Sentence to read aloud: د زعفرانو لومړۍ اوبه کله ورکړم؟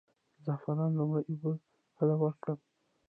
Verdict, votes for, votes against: rejected, 0, 2